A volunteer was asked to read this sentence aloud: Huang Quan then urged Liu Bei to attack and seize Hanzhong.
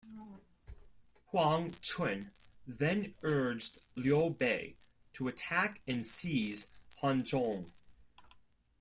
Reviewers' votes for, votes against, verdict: 2, 0, accepted